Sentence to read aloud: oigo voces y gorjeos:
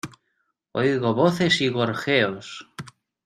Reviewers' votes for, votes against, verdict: 2, 0, accepted